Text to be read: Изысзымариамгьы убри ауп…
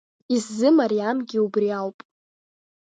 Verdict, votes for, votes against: rejected, 1, 2